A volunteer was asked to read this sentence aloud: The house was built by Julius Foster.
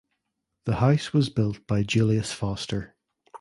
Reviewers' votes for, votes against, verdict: 2, 0, accepted